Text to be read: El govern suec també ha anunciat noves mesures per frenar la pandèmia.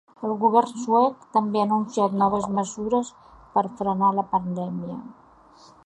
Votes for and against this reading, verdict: 2, 0, accepted